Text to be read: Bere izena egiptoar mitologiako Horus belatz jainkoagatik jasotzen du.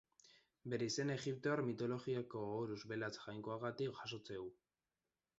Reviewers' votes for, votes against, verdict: 0, 2, rejected